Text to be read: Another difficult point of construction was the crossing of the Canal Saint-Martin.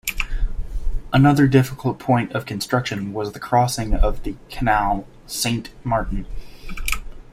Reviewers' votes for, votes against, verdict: 2, 0, accepted